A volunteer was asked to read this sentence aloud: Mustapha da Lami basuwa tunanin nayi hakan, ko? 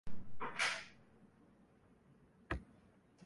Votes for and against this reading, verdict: 0, 2, rejected